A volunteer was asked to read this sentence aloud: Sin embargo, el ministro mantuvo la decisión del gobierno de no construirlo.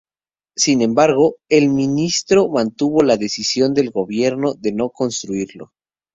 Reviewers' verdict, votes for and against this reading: accepted, 4, 0